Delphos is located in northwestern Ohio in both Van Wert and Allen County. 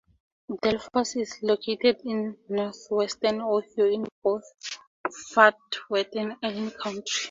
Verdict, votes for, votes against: rejected, 0, 2